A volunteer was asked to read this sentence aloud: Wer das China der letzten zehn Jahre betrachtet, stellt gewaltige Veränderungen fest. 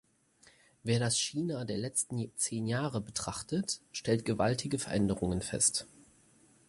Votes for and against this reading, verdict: 4, 0, accepted